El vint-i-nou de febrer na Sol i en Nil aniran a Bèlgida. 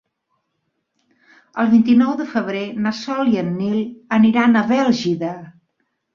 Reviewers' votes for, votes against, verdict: 2, 0, accepted